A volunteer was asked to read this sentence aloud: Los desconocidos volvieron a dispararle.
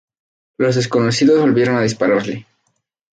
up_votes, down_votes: 2, 0